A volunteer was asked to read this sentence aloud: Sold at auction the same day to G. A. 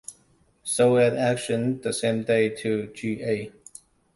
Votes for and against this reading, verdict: 2, 1, accepted